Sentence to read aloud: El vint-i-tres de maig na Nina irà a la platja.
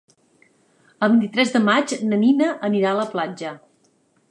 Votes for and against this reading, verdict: 0, 2, rejected